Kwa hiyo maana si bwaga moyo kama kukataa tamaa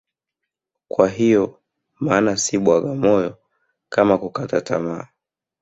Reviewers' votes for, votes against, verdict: 3, 0, accepted